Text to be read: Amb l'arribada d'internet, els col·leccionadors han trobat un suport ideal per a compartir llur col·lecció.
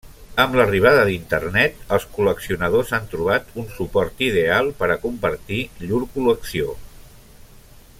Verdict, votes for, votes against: accepted, 3, 0